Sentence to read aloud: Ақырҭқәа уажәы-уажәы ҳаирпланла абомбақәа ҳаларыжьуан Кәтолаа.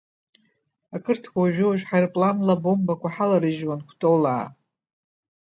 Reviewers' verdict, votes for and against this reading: rejected, 1, 2